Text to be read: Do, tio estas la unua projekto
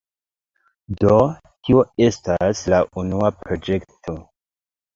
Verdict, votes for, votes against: rejected, 0, 2